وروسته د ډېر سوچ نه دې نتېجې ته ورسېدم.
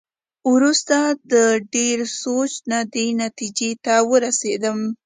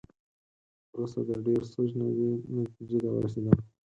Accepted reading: first